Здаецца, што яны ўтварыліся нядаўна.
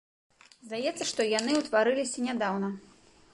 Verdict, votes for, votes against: accepted, 2, 0